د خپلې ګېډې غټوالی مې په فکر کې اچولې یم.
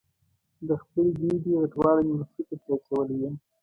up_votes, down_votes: 1, 2